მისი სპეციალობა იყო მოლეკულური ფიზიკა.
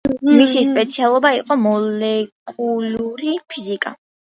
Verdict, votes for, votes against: rejected, 0, 3